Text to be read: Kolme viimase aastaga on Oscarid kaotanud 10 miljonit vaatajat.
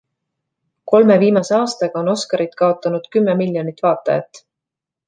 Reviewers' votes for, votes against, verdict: 0, 2, rejected